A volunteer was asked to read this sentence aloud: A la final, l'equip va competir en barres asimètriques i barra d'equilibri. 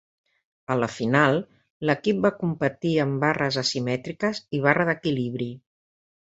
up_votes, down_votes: 2, 0